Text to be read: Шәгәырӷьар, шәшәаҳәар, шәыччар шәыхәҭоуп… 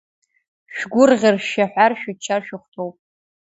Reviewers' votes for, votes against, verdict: 2, 0, accepted